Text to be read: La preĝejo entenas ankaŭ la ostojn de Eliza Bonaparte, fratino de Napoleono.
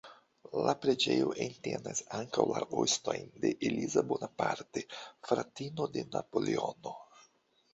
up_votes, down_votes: 2, 0